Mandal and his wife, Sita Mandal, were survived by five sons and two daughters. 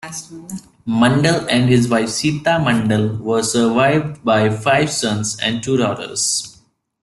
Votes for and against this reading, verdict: 2, 1, accepted